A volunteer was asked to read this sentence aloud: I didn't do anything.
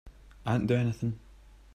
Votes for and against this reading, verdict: 1, 2, rejected